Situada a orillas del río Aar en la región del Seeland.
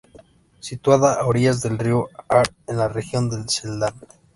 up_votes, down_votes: 0, 2